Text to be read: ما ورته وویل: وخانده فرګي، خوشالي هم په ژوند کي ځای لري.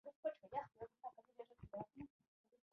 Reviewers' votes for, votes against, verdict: 0, 2, rejected